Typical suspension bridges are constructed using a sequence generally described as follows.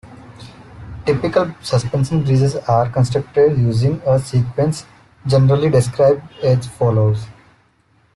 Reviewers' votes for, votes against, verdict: 2, 0, accepted